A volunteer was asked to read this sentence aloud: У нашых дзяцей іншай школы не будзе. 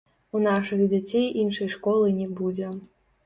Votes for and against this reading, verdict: 0, 2, rejected